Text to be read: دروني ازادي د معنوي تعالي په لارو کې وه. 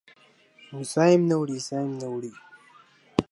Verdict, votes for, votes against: rejected, 0, 2